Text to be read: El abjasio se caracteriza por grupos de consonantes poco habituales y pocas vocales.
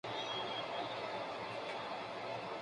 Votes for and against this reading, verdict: 0, 2, rejected